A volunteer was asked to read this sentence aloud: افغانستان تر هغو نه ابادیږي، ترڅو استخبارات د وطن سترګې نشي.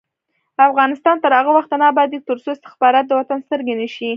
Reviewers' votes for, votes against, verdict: 1, 2, rejected